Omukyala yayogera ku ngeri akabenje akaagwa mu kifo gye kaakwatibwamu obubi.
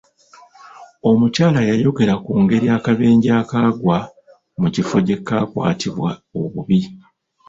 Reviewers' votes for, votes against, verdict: 0, 2, rejected